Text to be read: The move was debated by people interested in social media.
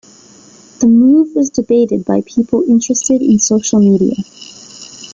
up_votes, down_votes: 3, 0